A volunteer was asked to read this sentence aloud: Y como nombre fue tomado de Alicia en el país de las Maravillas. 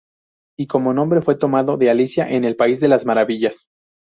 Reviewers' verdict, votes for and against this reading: accepted, 2, 0